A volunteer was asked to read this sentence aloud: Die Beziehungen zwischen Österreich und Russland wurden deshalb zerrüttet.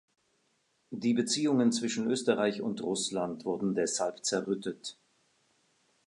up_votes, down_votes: 2, 0